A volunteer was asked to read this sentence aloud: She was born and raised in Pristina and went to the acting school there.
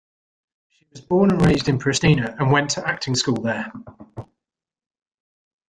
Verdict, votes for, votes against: rejected, 0, 2